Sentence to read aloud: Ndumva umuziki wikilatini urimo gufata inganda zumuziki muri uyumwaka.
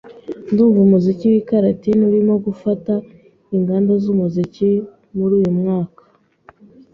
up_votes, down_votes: 1, 2